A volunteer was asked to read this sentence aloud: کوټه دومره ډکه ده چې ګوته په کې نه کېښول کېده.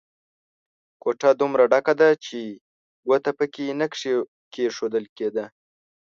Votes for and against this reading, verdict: 2, 0, accepted